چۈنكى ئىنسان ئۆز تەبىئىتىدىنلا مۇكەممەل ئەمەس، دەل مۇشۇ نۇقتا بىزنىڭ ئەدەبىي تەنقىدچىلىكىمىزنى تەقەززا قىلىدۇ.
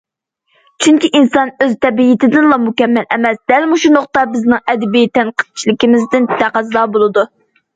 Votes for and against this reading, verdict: 0, 2, rejected